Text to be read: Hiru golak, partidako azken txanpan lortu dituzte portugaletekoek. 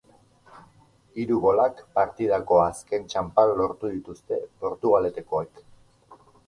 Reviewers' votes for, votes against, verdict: 2, 0, accepted